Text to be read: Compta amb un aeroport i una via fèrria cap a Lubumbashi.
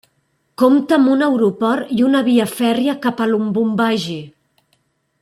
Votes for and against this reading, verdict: 1, 2, rejected